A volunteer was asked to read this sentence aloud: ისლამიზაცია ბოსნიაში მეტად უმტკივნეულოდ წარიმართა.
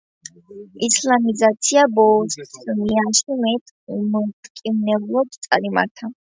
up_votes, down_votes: 2, 3